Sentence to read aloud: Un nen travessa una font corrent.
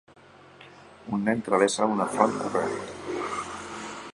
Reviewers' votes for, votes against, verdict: 1, 2, rejected